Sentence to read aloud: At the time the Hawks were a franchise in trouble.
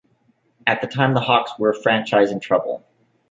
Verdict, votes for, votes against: accepted, 2, 0